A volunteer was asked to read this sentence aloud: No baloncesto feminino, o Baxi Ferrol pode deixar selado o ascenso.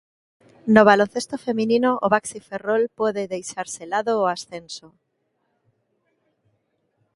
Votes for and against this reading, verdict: 2, 0, accepted